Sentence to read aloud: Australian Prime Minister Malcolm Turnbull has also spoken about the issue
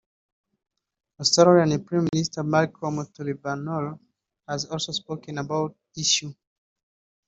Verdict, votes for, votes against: rejected, 0, 2